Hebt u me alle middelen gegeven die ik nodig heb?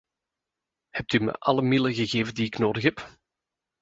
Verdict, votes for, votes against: accepted, 2, 0